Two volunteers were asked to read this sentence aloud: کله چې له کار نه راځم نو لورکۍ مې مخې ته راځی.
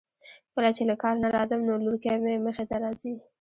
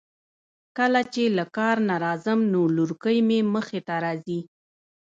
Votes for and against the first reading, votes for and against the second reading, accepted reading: 1, 2, 2, 1, second